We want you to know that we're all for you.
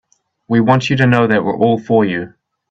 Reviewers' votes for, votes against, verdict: 2, 0, accepted